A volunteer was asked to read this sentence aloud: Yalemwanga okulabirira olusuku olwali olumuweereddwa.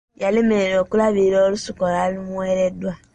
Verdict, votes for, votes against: rejected, 0, 2